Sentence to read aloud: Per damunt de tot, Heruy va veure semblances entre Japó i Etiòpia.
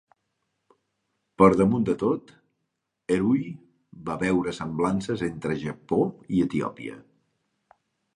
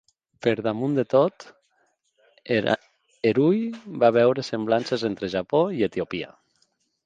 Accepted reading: first